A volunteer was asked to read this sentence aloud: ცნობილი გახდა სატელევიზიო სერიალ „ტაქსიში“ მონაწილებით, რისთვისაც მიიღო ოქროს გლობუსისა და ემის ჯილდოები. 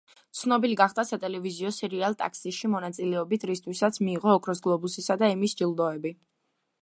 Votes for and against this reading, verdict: 2, 0, accepted